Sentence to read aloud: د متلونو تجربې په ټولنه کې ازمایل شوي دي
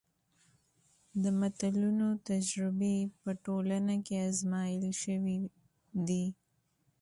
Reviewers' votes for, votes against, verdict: 2, 1, accepted